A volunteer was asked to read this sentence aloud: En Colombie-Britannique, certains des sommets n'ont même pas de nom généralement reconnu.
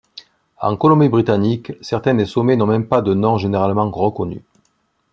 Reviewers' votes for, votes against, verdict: 2, 0, accepted